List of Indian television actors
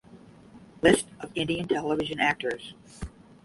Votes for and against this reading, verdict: 5, 0, accepted